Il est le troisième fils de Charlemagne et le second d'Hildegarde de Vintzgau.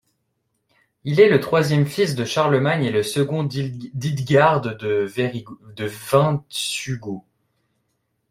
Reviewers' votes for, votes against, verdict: 1, 2, rejected